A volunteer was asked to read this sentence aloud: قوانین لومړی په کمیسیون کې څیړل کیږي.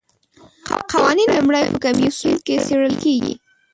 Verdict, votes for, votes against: rejected, 0, 2